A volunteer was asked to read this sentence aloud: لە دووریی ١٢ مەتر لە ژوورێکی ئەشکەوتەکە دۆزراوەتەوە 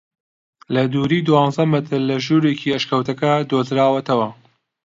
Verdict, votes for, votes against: rejected, 0, 2